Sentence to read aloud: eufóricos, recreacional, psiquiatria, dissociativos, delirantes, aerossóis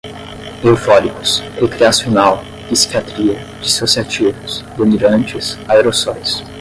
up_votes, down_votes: 10, 0